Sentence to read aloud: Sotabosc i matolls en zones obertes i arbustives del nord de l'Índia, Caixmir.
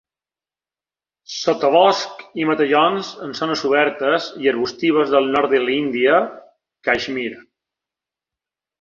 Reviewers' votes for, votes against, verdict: 0, 2, rejected